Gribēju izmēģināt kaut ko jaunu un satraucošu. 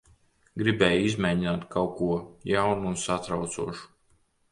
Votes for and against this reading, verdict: 2, 0, accepted